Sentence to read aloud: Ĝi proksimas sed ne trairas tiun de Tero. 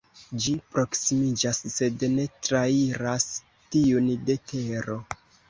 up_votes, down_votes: 0, 2